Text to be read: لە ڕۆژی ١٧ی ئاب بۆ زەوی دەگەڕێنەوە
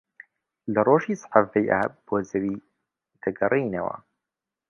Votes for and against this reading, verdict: 0, 2, rejected